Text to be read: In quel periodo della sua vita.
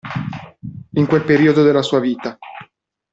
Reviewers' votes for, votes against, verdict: 2, 1, accepted